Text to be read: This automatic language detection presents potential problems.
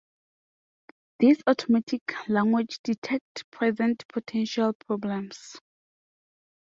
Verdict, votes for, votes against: rejected, 0, 2